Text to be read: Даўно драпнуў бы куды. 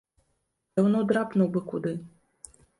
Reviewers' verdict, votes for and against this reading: accepted, 2, 0